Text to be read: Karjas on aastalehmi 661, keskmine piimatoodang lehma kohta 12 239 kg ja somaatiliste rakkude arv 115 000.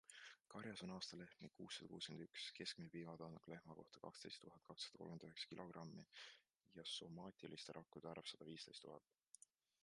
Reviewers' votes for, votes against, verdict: 0, 2, rejected